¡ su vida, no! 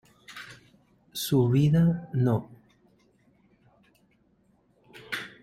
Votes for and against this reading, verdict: 2, 0, accepted